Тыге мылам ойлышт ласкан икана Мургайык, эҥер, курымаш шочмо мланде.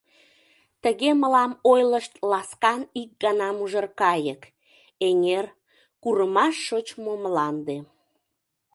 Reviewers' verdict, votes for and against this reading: rejected, 0, 2